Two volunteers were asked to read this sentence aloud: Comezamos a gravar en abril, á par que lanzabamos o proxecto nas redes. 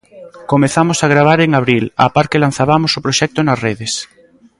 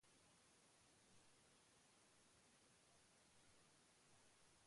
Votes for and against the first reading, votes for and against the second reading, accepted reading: 2, 0, 0, 2, first